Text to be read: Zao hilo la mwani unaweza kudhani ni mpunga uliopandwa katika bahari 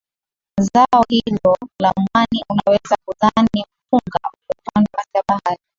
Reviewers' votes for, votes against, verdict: 4, 3, accepted